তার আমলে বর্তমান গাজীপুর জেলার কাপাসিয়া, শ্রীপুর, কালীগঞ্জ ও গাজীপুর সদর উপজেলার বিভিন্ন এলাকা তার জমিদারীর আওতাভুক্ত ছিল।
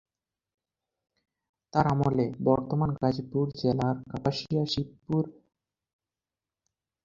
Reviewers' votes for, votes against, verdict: 0, 16, rejected